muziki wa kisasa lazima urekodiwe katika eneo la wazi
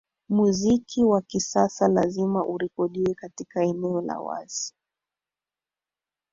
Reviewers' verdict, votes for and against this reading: accepted, 4, 0